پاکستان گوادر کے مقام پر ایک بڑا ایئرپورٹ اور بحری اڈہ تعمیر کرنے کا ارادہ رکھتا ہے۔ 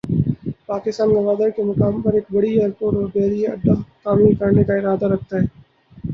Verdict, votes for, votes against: rejected, 0, 2